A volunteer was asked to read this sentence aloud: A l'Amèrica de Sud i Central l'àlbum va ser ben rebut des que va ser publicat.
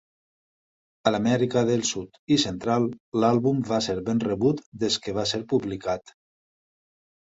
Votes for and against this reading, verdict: 2, 0, accepted